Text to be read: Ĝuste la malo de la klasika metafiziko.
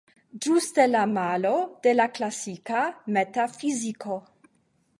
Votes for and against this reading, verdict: 0, 5, rejected